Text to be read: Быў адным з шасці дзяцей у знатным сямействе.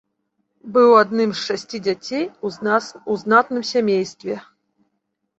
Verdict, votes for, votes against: rejected, 1, 2